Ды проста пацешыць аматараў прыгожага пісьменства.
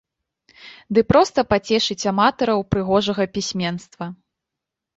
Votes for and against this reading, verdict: 2, 0, accepted